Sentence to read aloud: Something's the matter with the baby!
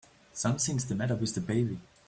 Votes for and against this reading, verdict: 2, 0, accepted